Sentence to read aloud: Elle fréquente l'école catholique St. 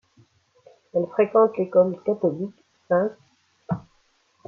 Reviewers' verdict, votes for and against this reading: rejected, 1, 2